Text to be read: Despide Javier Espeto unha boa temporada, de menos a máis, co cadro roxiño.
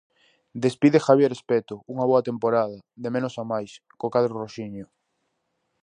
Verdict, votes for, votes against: accepted, 4, 0